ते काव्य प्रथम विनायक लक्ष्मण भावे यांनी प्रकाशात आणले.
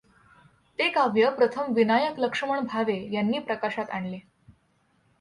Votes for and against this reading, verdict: 2, 0, accepted